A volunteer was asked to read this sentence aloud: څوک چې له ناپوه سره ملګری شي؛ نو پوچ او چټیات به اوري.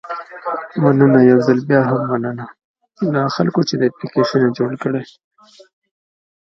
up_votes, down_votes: 0, 2